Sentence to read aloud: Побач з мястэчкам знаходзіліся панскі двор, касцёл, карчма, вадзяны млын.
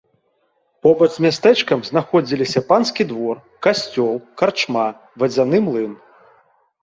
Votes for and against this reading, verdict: 2, 0, accepted